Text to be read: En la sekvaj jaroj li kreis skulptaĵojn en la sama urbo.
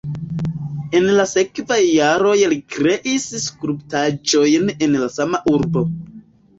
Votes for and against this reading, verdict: 2, 0, accepted